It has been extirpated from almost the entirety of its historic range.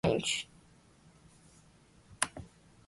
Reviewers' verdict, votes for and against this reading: rejected, 0, 2